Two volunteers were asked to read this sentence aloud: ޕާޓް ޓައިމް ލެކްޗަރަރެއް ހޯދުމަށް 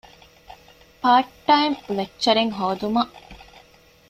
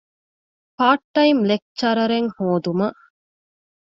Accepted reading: second